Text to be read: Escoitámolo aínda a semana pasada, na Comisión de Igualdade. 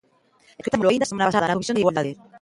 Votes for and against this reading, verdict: 0, 2, rejected